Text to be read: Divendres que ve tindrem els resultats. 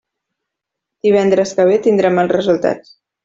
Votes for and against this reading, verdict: 2, 0, accepted